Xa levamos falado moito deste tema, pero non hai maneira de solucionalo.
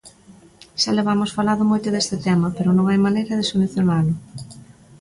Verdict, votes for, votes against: accepted, 2, 0